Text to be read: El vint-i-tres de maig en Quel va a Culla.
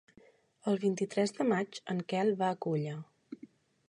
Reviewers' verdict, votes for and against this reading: accepted, 3, 0